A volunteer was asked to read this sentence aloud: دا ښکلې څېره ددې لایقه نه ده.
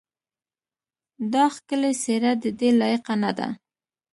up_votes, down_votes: 2, 0